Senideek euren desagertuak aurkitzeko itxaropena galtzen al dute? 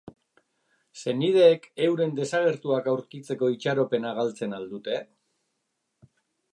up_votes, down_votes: 2, 0